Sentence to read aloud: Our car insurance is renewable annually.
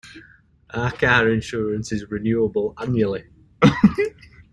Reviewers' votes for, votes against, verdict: 0, 2, rejected